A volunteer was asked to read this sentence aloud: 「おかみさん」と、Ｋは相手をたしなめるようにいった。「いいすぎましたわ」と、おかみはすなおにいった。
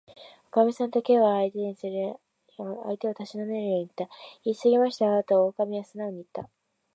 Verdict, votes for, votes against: rejected, 0, 2